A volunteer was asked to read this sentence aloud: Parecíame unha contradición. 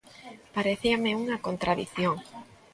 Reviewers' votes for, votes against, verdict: 2, 0, accepted